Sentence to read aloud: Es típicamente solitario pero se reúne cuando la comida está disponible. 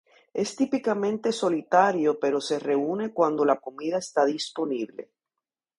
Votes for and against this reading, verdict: 0, 2, rejected